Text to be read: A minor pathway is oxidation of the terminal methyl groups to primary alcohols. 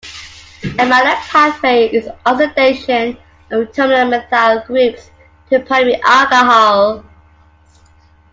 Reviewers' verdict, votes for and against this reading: rejected, 0, 2